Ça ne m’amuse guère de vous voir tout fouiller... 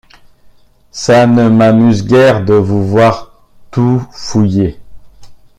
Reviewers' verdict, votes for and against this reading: accepted, 2, 1